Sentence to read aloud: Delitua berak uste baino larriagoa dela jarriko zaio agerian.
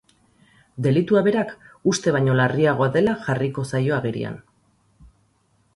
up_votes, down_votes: 6, 0